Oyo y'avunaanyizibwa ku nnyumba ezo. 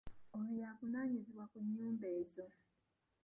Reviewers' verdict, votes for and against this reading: rejected, 0, 2